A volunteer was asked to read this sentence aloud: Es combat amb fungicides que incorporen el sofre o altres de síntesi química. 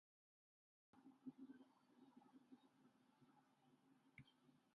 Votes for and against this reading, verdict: 0, 3, rejected